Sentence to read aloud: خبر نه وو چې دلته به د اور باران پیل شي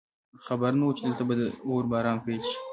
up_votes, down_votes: 1, 2